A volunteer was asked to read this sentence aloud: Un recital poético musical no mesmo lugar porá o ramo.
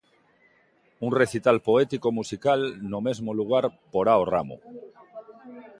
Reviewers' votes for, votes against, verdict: 2, 0, accepted